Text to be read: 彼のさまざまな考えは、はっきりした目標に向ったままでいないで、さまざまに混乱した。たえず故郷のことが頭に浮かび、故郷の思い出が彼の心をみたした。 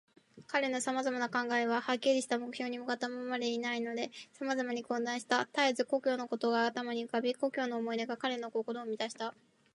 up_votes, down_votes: 2, 1